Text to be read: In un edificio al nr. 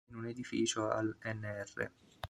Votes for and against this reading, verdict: 0, 2, rejected